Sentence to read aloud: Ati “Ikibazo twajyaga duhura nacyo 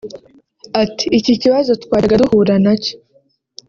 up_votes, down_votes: 0, 2